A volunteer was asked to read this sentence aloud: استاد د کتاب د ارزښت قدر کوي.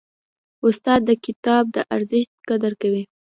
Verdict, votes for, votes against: rejected, 1, 2